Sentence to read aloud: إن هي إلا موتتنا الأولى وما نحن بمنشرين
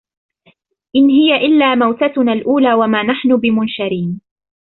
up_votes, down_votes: 4, 0